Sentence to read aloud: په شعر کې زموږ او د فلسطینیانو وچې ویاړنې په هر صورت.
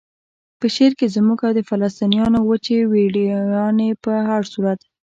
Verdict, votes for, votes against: rejected, 1, 2